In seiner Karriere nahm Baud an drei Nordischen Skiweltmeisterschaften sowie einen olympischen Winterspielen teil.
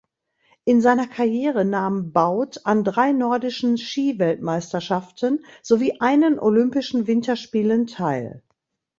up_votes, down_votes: 2, 0